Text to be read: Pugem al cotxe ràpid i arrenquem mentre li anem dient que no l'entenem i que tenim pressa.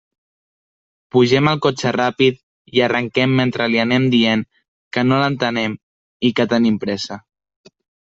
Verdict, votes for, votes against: accepted, 2, 0